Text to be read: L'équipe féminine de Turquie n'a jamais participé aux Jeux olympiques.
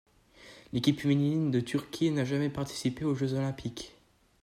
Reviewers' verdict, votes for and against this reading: accepted, 2, 0